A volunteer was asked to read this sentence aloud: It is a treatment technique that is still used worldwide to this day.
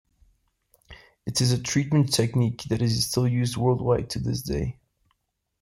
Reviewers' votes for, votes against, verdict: 2, 0, accepted